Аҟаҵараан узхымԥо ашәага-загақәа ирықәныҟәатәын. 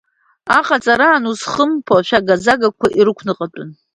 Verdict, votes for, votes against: accepted, 2, 0